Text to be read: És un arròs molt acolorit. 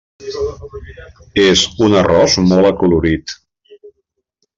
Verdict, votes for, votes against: accepted, 3, 1